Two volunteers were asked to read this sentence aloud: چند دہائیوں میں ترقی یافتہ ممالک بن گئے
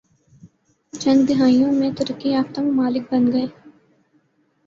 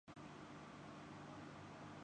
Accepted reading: first